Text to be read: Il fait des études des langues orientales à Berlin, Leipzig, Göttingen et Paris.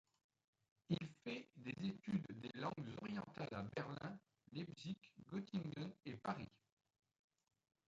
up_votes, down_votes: 2, 1